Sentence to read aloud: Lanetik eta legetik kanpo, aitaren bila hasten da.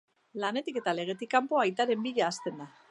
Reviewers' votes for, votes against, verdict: 0, 2, rejected